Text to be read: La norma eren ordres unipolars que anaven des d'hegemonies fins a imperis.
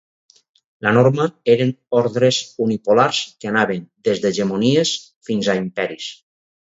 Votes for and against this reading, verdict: 4, 0, accepted